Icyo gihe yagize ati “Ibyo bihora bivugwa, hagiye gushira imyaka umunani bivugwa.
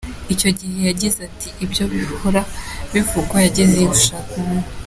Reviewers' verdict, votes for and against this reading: rejected, 0, 4